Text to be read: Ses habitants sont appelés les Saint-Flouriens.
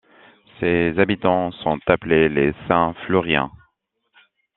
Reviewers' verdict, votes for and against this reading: accepted, 3, 0